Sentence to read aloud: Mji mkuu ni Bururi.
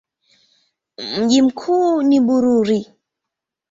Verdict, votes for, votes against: accepted, 2, 0